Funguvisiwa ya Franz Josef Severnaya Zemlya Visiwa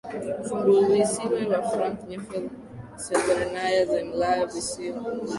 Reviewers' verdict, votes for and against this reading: accepted, 2, 1